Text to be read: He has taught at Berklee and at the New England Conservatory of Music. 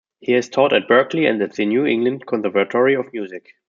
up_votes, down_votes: 0, 2